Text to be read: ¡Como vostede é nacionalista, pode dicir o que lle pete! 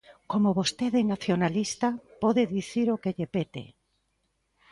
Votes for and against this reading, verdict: 2, 0, accepted